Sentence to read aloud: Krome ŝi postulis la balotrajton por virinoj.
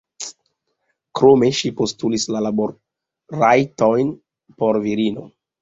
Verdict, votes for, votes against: accepted, 4, 3